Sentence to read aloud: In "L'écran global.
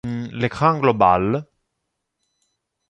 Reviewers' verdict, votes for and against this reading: rejected, 0, 2